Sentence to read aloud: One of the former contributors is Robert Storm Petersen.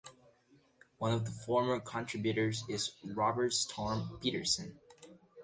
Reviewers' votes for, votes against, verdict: 2, 0, accepted